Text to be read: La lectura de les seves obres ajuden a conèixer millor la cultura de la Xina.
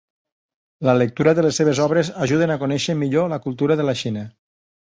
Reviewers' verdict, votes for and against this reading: accepted, 3, 0